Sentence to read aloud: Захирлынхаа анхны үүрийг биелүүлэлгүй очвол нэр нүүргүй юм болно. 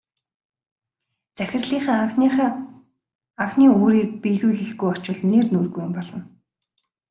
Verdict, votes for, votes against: rejected, 0, 2